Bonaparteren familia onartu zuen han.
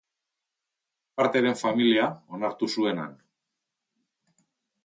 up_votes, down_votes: 0, 3